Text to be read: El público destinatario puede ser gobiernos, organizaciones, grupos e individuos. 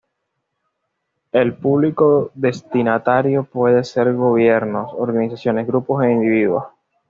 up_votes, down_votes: 1, 2